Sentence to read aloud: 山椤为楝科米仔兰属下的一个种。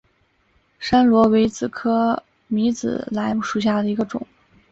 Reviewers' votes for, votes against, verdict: 4, 0, accepted